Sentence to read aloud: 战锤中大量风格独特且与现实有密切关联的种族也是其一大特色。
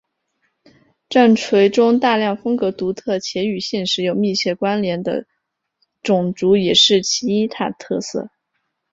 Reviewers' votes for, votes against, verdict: 3, 1, accepted